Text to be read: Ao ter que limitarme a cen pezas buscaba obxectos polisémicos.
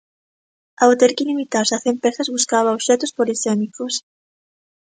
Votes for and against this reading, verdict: 0, 2, rejected